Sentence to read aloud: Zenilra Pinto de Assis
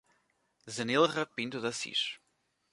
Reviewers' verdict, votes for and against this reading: accepted, 2, 0